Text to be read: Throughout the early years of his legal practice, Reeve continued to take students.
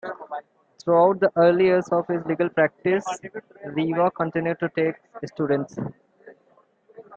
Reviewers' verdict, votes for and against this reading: accepted, 2, 1